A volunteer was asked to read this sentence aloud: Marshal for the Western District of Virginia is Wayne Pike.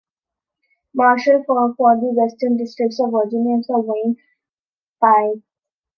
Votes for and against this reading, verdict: 1, 3, rejected